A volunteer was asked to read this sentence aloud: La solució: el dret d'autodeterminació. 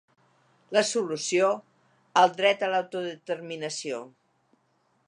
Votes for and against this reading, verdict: 0, 2, rejected